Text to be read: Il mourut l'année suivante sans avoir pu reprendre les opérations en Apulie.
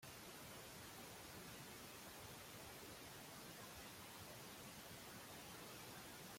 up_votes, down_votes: 0, 2